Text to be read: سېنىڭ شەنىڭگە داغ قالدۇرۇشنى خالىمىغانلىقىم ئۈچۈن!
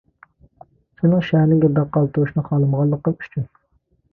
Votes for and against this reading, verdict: 0, 2, rejected